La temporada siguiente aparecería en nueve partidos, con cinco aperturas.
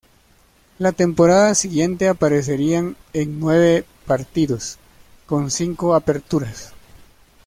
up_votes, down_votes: 0, 2